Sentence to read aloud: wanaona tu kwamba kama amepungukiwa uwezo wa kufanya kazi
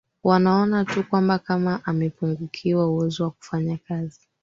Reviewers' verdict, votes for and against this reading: accepted, 4, 0